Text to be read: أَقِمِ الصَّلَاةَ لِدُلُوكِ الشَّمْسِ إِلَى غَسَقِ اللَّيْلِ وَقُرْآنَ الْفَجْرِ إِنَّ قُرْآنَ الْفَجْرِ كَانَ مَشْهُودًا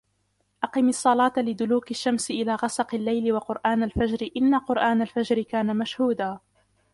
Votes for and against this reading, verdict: 1, 2, rejected